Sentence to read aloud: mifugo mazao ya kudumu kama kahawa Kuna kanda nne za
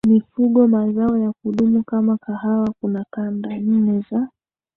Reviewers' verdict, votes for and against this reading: rejected, 0, 2